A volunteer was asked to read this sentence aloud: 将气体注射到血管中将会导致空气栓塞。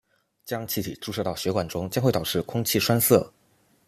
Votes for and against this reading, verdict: 2, 0, accepted